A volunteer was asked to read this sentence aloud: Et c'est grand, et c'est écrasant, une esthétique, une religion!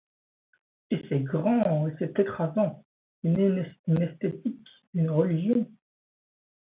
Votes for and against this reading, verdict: 1, 2, rejected